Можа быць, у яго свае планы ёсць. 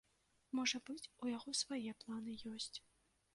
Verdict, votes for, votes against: accepted, 2, 1